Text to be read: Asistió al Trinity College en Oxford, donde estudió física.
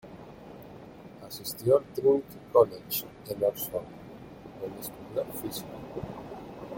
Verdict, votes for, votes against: rejected, 1, 2